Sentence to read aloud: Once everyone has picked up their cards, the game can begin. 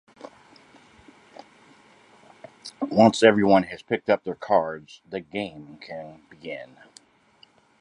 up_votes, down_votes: 2, 0